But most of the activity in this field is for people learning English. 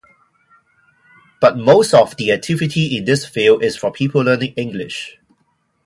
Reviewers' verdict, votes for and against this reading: rejected, 2, 2